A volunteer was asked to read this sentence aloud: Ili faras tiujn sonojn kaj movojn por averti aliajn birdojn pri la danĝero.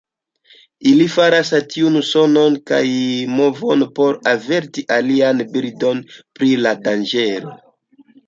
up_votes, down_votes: 2, 0